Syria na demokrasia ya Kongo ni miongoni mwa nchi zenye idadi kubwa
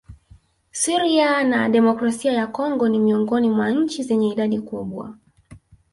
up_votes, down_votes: 1, 2